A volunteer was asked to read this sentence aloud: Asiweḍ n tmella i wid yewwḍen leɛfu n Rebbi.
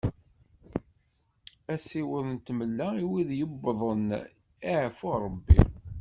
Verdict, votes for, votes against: accepted, 2, 1